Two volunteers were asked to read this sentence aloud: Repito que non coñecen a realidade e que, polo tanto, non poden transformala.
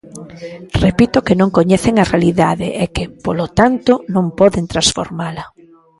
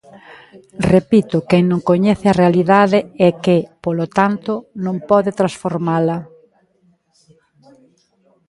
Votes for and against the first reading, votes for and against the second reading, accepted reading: 2, 1, 0, 2, first